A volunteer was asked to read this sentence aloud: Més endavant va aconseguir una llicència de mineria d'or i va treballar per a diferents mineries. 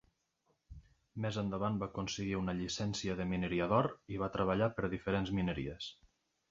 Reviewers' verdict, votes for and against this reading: accepted, 2, 0